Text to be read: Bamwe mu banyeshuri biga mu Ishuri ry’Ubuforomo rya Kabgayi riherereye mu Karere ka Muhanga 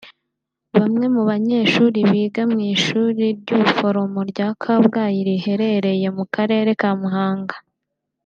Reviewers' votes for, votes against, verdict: 1, 2, rejected